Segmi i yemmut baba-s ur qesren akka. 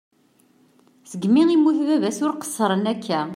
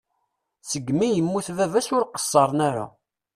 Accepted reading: first